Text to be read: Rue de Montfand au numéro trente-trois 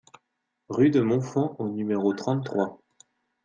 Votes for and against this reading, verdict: 2, 0, accepted